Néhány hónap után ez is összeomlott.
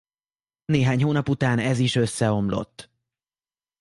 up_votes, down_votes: 2, 0